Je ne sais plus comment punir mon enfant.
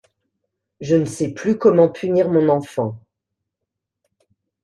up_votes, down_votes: 2, 0